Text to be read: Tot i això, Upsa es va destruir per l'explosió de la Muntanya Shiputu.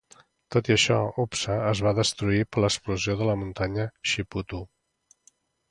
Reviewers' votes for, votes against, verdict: 3, 0, accepted